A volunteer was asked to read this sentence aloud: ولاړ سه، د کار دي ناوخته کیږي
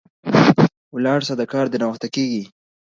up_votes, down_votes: 2, 0